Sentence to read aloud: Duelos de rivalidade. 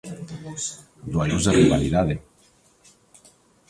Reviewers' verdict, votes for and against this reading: rejected, 1, 2